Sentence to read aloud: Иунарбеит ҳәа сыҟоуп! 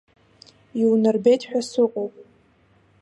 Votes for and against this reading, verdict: 2, 0, accepted